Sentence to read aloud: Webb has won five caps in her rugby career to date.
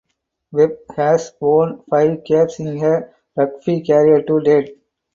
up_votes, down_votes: 4, 0